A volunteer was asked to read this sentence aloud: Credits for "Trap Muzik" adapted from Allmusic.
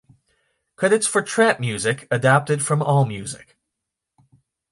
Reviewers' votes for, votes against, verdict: 2, 0, accepted